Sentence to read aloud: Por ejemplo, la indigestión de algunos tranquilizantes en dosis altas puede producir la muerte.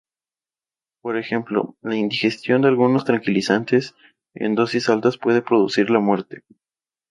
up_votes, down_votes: 4, 0